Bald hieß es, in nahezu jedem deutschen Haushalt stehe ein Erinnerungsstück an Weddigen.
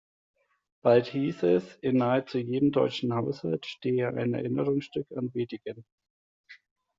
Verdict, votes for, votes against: rejected, 1, 2